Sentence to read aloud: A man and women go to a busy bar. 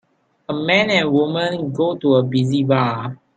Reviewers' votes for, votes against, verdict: 2, 3, rejected